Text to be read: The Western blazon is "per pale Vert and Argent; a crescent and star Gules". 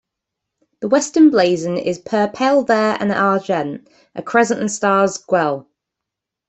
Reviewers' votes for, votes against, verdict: 1, 2, rejected